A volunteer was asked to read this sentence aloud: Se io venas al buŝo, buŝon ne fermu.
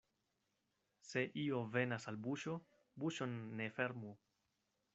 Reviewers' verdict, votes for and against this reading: accepted, 2, 0